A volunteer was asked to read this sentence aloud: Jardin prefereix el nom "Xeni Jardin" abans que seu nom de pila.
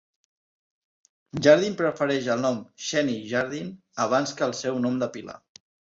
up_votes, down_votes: 1, 2